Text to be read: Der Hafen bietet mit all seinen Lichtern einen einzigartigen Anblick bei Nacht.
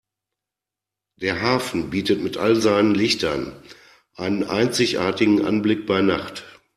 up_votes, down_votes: 2, 0